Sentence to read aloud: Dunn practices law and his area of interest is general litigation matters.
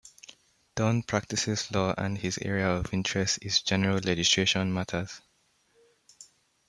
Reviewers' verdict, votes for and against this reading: accepted, 2, 1